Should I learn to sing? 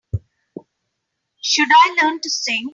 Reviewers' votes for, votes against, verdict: 3, 0, accepted